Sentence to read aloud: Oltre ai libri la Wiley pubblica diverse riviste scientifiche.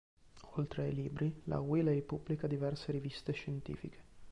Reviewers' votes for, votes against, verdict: 2, 0, accepted